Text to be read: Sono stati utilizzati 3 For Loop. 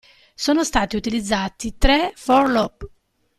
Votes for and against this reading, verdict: 0, 2, rejected